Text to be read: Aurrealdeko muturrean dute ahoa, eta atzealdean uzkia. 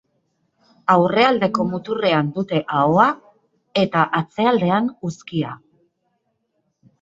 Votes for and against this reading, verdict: 2, 0, accepted